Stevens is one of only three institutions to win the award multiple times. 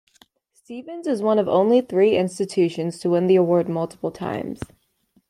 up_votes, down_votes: 2, 0